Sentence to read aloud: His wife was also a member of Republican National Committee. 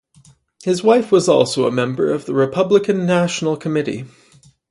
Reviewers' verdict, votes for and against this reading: accepted, 2, 0